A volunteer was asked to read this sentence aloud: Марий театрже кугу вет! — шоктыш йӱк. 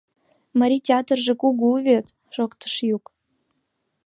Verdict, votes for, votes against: rejected, 0, 2